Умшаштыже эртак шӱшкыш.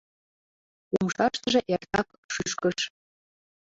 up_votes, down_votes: 2, 0